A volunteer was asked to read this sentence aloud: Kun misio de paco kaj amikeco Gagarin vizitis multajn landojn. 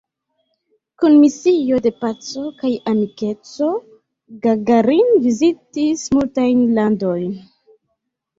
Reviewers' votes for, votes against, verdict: 1, 2, rejected